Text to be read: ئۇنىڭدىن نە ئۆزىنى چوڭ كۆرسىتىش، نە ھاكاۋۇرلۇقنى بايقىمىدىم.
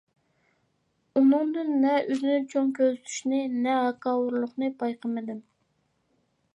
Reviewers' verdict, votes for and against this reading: rejected, 0, 2